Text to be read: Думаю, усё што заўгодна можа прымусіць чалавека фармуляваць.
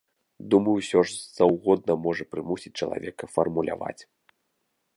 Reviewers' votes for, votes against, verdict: 0, 2, rejected